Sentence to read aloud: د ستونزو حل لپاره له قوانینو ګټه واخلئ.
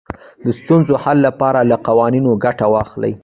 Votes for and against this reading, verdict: 2, 1, accepted